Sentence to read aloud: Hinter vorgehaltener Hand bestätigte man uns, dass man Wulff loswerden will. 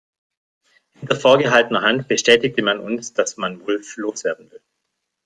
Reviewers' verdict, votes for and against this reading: rejected, 1, 2